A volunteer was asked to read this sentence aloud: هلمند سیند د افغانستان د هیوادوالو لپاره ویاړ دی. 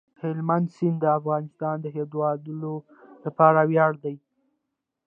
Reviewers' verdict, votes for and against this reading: accepted, 2, 0